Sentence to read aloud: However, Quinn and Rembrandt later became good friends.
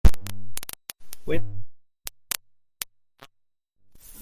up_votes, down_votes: 0, 2